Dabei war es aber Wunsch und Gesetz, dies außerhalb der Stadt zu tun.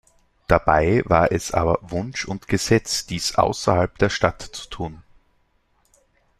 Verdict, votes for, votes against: accepted, 2, 0